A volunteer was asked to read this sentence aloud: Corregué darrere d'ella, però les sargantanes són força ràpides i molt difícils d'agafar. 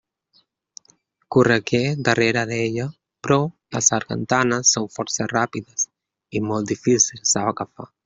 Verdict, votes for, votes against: rejected, 0, 2